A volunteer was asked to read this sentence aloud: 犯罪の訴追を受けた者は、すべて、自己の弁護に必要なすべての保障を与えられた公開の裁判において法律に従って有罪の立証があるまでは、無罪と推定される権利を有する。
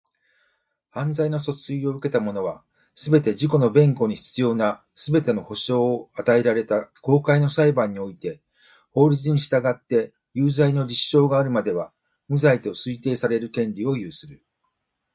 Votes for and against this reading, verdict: 2, 0, accepted